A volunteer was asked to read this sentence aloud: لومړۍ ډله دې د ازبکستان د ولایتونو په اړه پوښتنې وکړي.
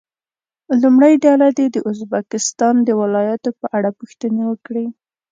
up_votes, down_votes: 2, 0